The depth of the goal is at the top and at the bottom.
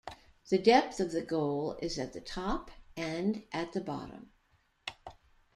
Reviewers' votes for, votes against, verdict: 2, 0, accepted